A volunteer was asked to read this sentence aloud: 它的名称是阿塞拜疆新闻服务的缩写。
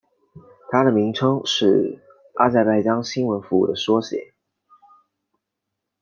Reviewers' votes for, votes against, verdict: 2, 0, accepted